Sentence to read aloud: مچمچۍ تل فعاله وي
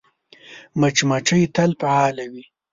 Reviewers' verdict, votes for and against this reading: accepted, 2, 0